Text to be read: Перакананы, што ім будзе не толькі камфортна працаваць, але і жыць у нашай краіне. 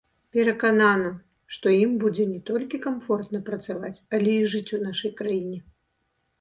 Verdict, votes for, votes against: accepted, 2, 1